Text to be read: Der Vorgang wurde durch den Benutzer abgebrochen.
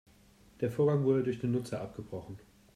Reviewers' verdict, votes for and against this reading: rejected, 0, 2